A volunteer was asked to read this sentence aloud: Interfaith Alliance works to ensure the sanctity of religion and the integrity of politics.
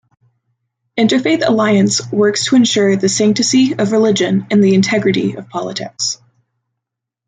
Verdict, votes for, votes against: rejected, 0, 2